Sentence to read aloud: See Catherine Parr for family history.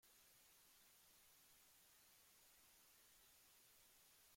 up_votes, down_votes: 0, 2